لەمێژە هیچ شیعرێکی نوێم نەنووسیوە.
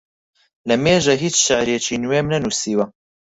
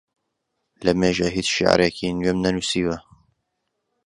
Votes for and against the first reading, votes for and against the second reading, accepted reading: 0, 4, 2, 0, second